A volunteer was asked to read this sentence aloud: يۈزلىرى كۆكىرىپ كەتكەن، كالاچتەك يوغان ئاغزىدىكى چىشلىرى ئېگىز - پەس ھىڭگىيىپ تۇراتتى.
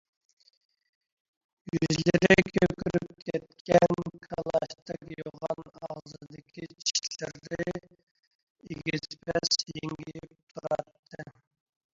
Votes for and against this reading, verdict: 0, 2, rejected